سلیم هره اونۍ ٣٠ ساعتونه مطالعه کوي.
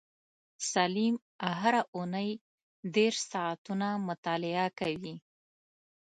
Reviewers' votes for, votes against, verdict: 0, 2, rejected